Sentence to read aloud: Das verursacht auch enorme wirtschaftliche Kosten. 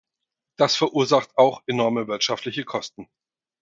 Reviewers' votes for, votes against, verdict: 4, 0, accepted